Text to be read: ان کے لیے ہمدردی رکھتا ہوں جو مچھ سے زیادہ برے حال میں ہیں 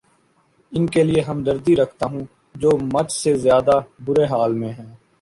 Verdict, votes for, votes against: accepted, 2, 0